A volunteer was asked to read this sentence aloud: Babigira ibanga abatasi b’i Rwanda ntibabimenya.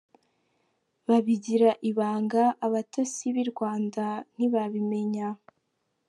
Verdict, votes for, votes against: rejected, 1, 2